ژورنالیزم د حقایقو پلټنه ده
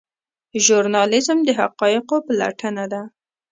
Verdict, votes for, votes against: rejected, 0, 2